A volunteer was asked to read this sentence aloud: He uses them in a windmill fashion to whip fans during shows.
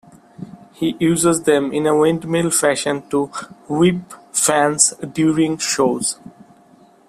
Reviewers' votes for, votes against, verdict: 2, 0, accepted